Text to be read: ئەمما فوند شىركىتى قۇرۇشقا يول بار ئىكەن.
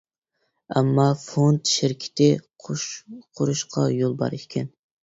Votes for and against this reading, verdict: 1, 2, rejected